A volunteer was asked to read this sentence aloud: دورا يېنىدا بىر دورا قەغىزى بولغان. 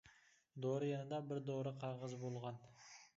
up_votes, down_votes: 0, 2